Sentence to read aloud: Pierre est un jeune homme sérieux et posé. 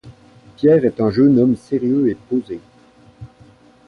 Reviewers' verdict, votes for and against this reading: accepted, 2, 0